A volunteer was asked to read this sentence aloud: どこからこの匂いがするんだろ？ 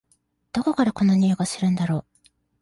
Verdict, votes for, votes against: accepted, 2, 0